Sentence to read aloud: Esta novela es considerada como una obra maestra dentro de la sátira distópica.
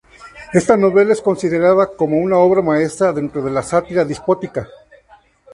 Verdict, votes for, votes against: rejected, 0, 2